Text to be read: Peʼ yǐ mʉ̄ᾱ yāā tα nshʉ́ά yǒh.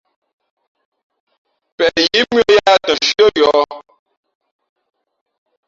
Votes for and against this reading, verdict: 1, 2, rejected